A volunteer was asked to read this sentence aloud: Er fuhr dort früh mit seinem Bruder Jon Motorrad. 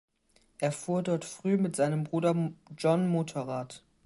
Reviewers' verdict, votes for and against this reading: rejected, 2, 2